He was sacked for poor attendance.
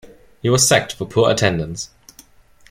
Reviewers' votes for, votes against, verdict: 2, 0, accepted